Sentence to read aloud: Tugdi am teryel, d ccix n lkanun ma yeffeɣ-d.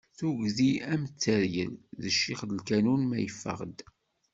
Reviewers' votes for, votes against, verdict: 2, 0, accepted